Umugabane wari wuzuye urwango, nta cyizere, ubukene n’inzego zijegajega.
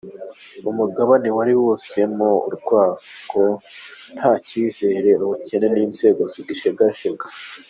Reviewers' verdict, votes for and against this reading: rejected, 1, 3